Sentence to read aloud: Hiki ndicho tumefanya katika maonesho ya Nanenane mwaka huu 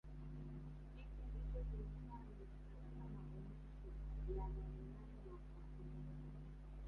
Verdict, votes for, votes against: rejected, 0, 2